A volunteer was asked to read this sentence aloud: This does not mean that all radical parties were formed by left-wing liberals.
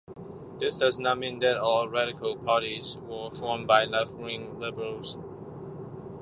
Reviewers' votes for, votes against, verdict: 2, 0, accepted